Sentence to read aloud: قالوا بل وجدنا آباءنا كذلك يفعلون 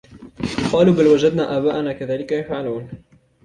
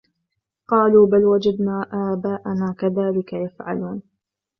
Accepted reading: first